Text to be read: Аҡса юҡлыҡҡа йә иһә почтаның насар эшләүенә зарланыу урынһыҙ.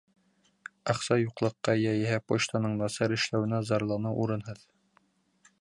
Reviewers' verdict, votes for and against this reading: accepted, 2, 0